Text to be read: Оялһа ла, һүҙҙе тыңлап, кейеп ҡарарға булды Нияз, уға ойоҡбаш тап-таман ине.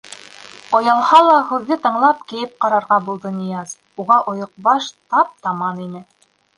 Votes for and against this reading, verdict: 2, 0, accepted